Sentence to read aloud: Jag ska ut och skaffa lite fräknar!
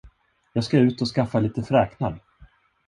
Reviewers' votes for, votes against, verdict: 1, 2, rejected